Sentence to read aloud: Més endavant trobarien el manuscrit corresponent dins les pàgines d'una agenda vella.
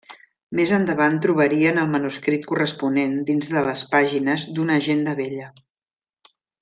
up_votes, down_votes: 0, 2